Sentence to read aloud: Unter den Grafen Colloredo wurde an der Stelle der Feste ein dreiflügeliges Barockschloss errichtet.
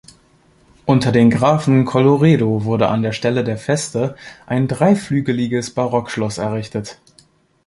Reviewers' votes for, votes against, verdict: 2, 0, accepted